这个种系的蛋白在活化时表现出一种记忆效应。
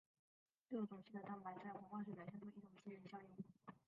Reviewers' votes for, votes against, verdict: 0, 2, rejected